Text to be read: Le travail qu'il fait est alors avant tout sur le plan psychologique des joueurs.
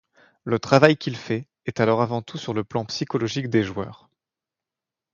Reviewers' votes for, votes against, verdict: 2, 0, accepted